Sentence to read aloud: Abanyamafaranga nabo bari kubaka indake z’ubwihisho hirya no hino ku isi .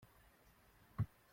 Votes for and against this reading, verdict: 0, 2, rejected